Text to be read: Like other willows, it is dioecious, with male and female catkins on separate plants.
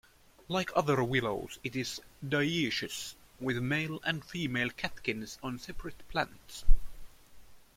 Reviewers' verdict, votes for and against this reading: rejected, 1, 2